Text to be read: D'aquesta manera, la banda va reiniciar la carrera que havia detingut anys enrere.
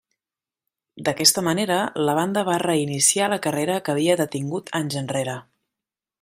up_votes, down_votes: 3, 0